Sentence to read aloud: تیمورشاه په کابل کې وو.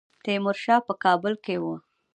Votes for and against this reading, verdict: 0, 2, rejected